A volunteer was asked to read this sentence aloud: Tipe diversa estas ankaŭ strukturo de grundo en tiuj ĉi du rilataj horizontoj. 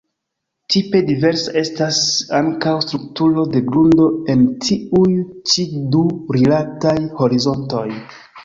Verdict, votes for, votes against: rejected, 1, 2